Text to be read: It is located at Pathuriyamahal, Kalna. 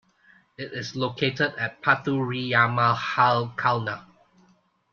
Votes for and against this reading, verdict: 2, 0, accepted